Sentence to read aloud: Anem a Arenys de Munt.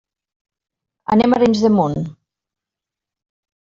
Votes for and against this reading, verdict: 2, 0, accepted